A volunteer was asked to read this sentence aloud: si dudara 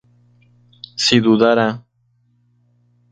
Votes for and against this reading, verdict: 2, 0, accepted